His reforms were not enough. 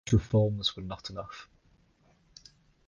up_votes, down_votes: 0, 2